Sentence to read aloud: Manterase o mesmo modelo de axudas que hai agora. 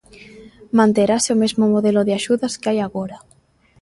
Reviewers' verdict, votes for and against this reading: accepted, 2, 0